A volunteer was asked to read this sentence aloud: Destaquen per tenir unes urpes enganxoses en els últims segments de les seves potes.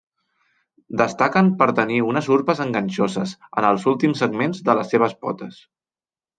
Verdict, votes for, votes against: accepted, 3, 1